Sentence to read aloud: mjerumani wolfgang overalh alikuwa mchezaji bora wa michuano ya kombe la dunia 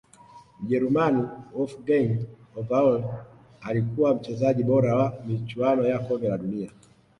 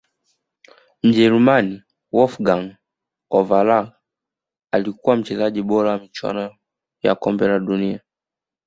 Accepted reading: first